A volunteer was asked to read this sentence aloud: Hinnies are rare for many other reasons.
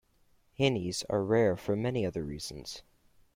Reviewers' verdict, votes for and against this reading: accepted, 2, 0